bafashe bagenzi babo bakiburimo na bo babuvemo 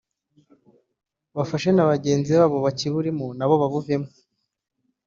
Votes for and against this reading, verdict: 0, 2, rejected